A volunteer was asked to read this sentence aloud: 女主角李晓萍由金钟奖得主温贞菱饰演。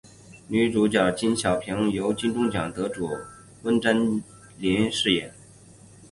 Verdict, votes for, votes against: accepted, 3, 0